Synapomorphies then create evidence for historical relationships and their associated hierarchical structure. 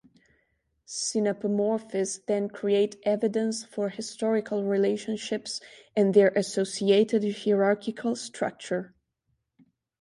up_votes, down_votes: 2, 1